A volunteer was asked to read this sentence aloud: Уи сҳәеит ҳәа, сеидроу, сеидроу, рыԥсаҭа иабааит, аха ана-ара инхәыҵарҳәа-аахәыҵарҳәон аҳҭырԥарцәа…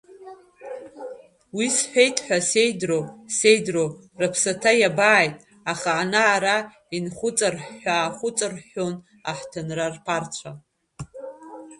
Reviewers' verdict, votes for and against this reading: rejected, 0, 3